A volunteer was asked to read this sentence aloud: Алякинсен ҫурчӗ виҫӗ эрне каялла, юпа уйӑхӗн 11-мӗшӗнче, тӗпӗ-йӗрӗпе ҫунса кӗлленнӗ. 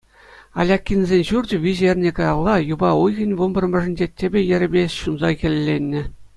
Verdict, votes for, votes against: rejected, 0, 2